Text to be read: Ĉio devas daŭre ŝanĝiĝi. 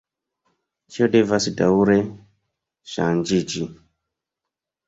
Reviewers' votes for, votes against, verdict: 2, 1, accepted